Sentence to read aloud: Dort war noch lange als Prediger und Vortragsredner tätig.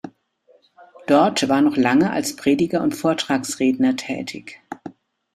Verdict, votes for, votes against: accepted, 2, 0